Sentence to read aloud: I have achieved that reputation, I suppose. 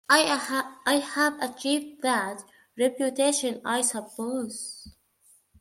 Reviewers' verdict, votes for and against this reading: rejected, 1, 2